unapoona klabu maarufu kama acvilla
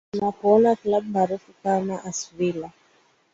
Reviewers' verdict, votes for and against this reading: accepted, 2, 0